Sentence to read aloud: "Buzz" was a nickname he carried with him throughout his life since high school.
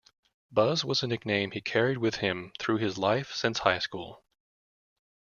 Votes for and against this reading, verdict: 0, 2, rejected